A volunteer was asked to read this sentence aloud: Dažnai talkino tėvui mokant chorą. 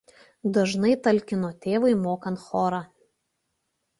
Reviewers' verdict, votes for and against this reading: accepted, 2, 0